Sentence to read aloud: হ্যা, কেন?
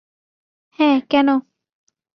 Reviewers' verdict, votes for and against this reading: accepted, 2, 0